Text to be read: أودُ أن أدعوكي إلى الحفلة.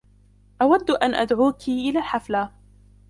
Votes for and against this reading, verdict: 0, 2, rejected